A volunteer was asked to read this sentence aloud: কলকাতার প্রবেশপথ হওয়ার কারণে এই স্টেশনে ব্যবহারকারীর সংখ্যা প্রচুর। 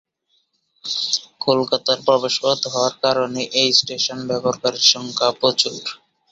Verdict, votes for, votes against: rejected, 0, 2